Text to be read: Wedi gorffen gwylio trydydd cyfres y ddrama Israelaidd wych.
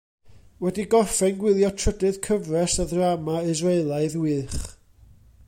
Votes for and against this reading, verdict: 2, 0, accepted